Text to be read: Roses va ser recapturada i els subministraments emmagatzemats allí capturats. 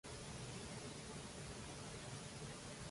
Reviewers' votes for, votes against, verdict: 0, 2, rejected